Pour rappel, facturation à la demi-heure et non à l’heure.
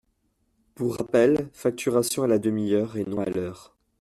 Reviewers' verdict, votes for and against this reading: accepted, 2, 0